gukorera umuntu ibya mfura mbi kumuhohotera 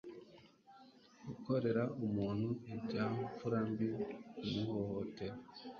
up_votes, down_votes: 3, 0